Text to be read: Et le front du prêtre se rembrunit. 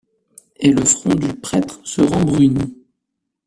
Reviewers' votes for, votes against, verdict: 0, 2, rejected